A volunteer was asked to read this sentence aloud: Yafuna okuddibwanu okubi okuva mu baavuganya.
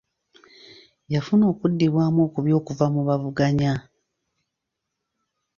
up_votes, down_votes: 2, 1